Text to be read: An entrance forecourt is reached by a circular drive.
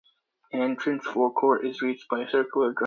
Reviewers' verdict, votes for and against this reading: rejected, 0, 2